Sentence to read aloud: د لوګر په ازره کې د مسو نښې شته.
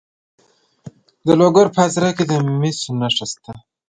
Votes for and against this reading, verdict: 1, 2, rejected